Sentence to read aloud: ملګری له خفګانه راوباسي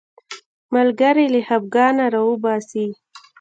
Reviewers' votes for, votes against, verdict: 1, 2, rejected